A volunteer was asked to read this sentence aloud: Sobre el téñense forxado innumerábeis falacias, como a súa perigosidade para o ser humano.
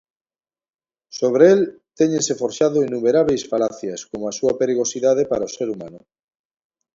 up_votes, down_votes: 2, 0